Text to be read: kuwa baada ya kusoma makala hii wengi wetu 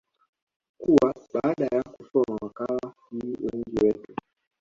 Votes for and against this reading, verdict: 1, 2, rejected